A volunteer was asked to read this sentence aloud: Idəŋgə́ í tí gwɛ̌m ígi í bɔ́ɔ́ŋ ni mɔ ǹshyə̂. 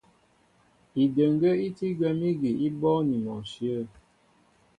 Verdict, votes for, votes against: accepted, 2, 0